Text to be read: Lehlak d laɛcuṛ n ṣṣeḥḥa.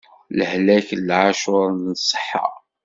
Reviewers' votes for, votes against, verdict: 1, 2, rejected